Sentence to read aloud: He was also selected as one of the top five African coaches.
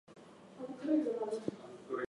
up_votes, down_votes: 0, 4